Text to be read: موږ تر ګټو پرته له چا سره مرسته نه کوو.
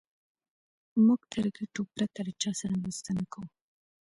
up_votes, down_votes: 2, 0